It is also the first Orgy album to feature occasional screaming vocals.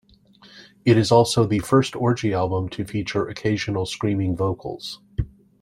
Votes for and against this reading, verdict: 2, 0, accepted